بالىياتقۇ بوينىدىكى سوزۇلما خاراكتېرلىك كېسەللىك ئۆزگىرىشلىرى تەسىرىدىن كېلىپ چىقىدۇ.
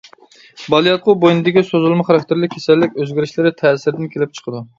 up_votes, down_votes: 2, 0